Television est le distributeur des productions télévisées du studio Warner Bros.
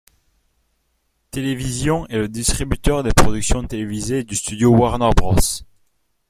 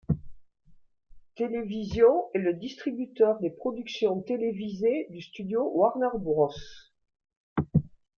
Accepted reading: first